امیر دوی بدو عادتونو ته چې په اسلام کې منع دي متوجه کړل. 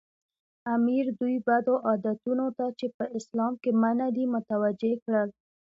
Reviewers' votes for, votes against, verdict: 2, 0, accepted